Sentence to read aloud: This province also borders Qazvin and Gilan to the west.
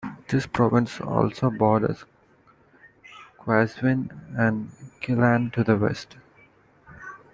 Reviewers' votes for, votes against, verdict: 2, 0, accepted